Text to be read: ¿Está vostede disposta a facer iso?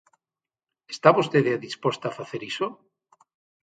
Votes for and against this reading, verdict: 6, 0, accepted